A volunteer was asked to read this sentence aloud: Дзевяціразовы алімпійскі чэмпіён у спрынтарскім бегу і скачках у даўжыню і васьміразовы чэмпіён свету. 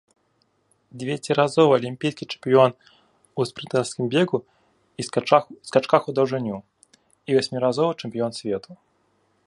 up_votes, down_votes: 0, 2